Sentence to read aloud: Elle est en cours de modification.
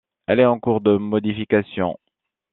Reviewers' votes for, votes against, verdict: 2, 0, accepted